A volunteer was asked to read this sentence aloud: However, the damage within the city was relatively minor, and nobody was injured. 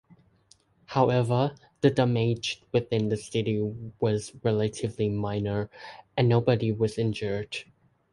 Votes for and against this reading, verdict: 2, 0, accepted